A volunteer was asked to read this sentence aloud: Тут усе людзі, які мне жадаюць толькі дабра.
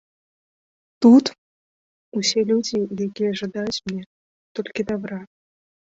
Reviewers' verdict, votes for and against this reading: rejected, 0, 2